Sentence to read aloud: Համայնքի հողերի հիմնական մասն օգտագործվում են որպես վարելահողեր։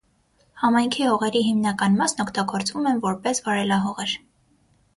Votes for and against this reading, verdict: 6, 0, accepted